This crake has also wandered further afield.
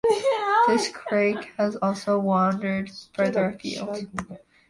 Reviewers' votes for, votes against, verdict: 0, 2, rejected